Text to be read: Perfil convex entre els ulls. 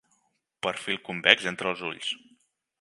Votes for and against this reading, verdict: 4, 0, accepted